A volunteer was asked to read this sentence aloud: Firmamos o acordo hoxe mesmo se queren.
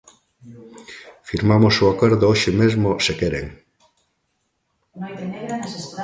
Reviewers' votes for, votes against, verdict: 0, 2, rejected